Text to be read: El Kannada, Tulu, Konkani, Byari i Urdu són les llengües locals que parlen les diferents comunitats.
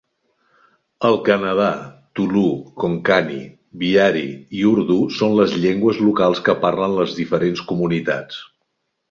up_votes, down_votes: 1, 2